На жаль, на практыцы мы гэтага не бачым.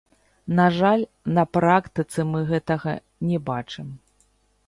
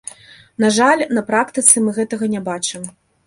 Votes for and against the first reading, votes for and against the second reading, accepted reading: 0, 2, 2, 0, second